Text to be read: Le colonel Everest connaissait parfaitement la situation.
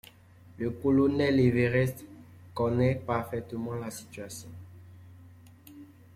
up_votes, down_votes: 0, 2